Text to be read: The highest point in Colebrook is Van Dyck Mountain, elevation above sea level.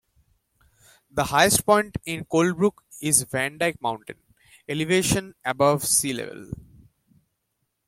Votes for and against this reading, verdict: 0, 2, rejected